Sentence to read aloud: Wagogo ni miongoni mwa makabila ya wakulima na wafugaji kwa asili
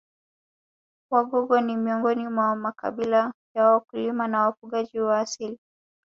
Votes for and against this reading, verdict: 3, 0, accepted